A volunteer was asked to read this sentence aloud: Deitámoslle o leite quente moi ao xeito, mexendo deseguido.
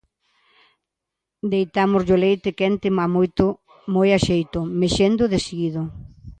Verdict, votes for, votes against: rejected, 0, 2